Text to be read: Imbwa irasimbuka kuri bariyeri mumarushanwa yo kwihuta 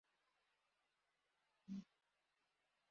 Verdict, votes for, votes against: rejected, 0, 2